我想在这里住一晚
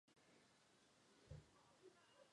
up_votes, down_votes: 0, 4